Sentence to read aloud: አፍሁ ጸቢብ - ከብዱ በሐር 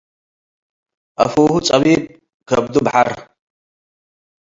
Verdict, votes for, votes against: accepted, 2, 0